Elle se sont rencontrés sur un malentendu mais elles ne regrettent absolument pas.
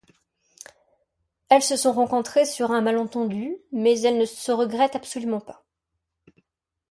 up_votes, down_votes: 1, 2